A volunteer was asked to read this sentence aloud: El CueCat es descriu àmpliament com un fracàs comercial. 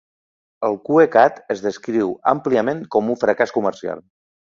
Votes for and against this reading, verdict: 2, 0, accepted